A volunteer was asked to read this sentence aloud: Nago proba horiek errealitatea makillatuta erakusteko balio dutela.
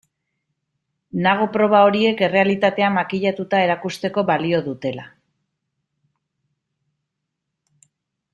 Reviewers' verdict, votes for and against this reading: accepted, 2, 0